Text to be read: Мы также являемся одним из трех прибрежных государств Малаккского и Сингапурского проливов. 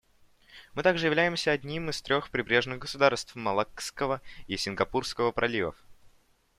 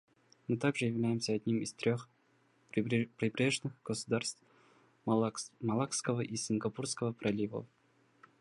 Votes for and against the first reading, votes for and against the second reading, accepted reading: 2, 0, 0, 2, first